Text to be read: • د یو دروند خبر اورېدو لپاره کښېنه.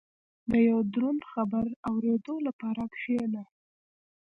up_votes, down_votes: 2, 0